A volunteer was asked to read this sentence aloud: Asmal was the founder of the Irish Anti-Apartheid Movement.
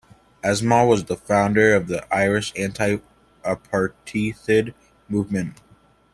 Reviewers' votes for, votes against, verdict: 0, 2, rejected